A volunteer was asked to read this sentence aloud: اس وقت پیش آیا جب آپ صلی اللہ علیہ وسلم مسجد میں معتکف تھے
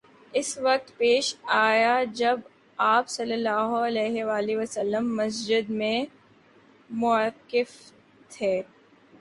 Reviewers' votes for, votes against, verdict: 3, 1, accepted